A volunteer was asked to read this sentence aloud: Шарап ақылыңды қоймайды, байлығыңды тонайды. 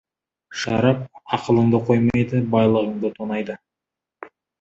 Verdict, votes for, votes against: accepted, 2, 0